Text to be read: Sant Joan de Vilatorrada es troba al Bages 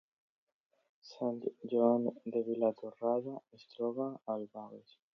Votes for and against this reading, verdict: 2, 1, accepted